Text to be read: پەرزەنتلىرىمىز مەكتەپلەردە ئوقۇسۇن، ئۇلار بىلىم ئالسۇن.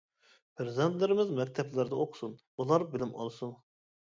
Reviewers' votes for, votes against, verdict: 1, 2, rejected